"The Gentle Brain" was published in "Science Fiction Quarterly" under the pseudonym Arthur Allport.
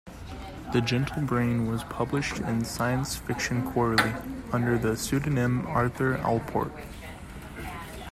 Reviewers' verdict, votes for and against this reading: accepted, 2, 0